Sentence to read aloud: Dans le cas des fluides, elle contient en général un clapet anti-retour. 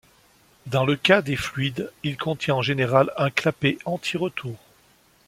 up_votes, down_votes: 0, 2